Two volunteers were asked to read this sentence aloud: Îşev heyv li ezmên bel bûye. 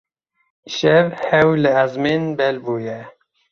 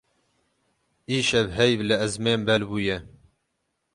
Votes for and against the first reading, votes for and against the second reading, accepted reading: 0, 2, 12, 0, second